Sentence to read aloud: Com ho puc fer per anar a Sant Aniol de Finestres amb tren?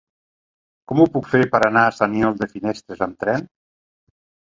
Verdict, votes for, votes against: rejected, 0, 2